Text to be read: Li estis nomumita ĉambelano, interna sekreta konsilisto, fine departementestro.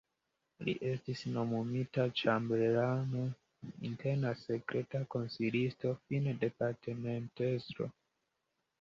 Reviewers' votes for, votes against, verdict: 0, 2, rejected